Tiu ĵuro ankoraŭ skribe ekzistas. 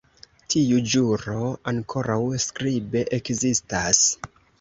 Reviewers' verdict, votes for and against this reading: accepted, 3, 0